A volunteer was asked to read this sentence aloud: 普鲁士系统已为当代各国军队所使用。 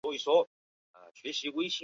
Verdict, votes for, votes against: accepted, 2, 0